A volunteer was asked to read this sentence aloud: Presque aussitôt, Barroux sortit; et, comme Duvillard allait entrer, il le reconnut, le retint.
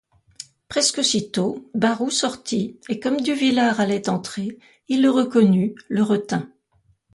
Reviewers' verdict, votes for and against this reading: accepted, 2, 0